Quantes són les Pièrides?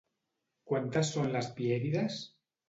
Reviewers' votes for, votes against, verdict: 0, 2, rejected